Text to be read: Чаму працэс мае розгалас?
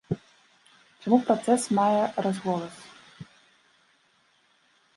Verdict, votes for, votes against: rejected, 0, 2